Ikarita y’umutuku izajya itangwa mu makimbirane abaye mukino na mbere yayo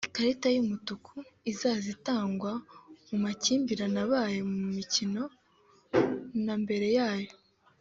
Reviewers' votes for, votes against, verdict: 2, 0, accepted